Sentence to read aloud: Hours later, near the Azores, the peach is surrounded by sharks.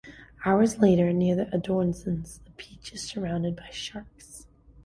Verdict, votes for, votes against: rejected, 1, 2